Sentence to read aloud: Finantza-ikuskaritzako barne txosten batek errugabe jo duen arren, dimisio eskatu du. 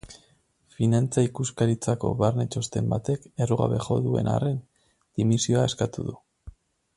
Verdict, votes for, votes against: rejected, 2, 2